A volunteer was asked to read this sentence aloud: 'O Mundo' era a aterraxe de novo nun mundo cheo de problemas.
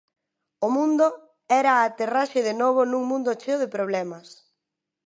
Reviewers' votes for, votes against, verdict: 2, 0, accepted